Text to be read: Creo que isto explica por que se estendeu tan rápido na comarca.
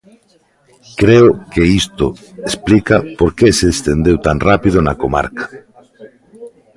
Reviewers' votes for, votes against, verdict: 0, 2, rejected